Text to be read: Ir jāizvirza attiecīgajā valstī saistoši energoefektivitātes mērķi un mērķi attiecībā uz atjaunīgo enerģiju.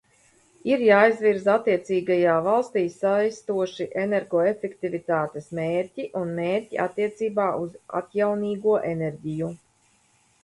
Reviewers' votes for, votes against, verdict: 2, 0, accepted